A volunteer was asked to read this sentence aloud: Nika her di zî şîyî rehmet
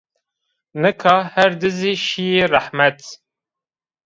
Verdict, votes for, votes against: accepted, 2, 0